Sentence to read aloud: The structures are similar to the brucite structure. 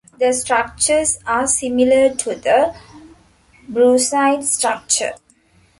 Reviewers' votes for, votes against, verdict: 2, 0, accepted